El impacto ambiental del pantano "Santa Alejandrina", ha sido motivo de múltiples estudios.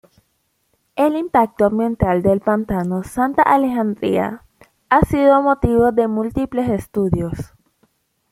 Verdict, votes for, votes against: accepted, 2, 1